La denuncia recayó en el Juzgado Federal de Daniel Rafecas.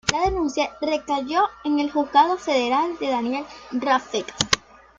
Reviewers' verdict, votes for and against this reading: rejected, 0, 2